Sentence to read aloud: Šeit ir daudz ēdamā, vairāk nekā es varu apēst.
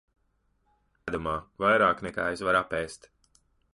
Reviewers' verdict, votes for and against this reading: rejected, 0, 2